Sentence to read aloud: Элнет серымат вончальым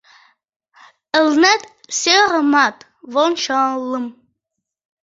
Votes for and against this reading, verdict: 0, 2, rejected